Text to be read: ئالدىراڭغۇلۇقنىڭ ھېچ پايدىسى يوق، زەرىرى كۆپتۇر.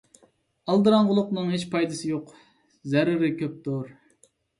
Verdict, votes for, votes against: accepted, 2, 0